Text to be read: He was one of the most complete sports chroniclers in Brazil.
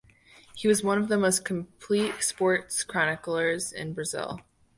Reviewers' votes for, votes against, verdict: 2, 0, accepted